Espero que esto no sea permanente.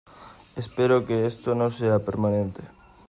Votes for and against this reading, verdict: 2, 0, accepted